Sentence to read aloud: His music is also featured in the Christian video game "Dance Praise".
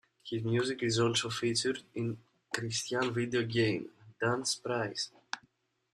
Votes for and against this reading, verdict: 0, 2, rejected